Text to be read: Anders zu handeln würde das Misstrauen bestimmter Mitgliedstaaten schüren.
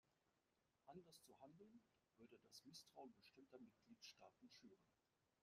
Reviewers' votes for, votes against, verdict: 0, 2, rejected